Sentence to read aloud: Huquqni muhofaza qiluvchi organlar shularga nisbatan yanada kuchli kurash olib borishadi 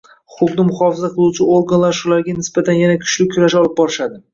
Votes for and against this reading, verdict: 1, 2, rejected